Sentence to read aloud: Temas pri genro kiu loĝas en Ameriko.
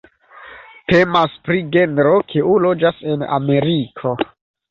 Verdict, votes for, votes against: accepted, 2, 0